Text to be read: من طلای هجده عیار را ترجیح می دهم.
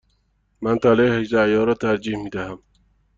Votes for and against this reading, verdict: 2, 0, accepted